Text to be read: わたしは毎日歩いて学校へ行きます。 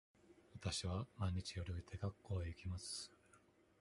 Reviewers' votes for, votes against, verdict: 1, 2, rejected